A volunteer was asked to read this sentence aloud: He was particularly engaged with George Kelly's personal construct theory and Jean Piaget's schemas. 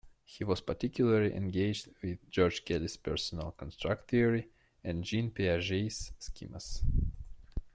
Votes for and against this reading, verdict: 2, 1, accepted